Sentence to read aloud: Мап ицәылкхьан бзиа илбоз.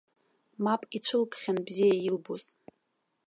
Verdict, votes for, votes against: accepted, 2, 1